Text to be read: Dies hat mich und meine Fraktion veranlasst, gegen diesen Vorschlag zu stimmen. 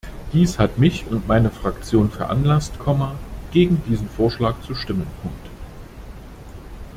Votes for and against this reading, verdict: 0, 2, rejected